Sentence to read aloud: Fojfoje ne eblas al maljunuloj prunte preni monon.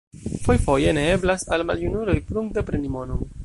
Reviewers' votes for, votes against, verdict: 1, 2, rejected